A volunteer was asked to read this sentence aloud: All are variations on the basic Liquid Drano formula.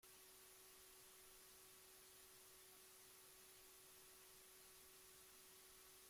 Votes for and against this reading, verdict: 0, 2, rejected